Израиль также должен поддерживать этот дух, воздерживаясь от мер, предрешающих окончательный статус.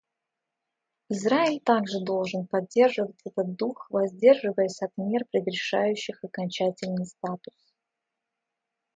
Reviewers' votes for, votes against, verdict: 2, 0, accepted